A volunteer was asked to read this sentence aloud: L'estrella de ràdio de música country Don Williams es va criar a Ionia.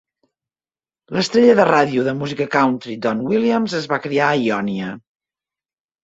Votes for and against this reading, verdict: 2, 0, accepted